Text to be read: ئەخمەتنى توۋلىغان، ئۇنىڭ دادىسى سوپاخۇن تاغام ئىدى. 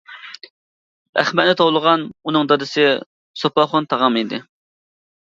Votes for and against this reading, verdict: 2, 1, accepted